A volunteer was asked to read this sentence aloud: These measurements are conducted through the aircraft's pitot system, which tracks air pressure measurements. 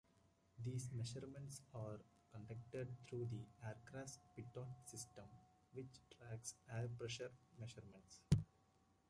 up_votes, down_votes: 1, 2